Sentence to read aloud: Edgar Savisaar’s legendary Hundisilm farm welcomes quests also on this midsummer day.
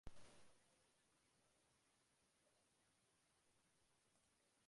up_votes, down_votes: 0, 2